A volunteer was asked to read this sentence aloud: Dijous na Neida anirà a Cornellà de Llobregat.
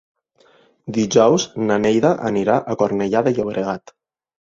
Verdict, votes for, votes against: accepted, 4, 0